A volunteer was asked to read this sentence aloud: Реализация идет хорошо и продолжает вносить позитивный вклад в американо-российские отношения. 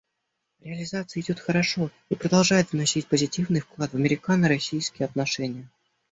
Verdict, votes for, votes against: accepted, 2, 0